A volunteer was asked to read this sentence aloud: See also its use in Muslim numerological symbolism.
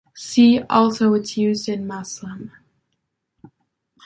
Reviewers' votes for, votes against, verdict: 0, 2, rejected